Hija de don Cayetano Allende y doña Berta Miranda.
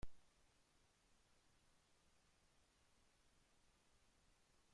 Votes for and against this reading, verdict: 0, 2, rejected